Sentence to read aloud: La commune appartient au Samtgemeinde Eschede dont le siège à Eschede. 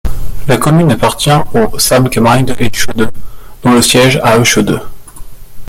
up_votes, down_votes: 1, 2